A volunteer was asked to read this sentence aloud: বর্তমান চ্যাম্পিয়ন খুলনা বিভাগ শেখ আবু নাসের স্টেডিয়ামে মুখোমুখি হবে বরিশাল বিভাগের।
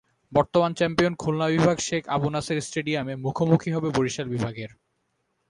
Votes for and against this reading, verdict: 4, 0, accepted